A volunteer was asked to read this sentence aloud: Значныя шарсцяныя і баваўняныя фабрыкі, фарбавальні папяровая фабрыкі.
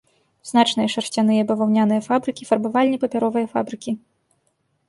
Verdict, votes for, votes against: rejected, 0, 2